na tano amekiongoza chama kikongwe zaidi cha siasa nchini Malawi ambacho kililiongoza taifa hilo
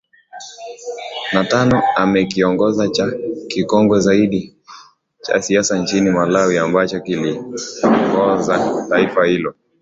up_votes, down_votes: 1, 2